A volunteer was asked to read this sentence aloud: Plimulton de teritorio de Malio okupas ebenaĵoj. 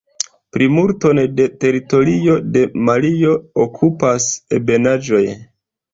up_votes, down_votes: 2, 0